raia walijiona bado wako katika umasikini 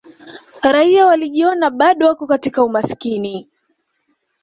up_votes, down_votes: 2, 0